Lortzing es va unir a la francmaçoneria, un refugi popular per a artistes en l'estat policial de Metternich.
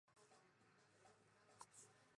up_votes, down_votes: 0, 2